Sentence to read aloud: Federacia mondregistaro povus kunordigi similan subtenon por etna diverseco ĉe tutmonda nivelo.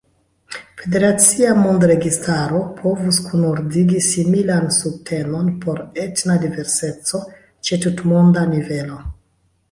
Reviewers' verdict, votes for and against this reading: rejected, 0, 2